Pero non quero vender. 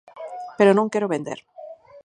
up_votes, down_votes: 4, 0